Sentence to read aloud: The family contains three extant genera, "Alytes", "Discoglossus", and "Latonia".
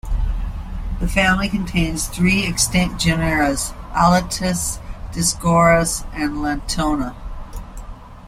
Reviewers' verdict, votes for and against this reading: rejected, 0, 2